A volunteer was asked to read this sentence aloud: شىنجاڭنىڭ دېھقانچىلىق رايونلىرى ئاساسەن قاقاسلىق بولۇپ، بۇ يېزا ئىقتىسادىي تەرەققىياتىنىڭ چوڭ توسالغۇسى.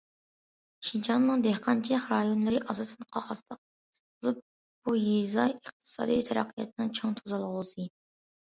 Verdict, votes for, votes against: accepted, 2, 1